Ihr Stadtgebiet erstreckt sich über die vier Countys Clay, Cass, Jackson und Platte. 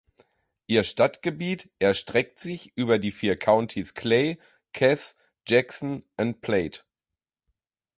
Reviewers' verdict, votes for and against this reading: rejected, 0, 2